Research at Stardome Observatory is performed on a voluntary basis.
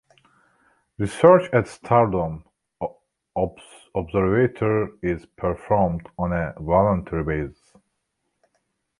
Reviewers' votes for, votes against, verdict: 0, 2, rejected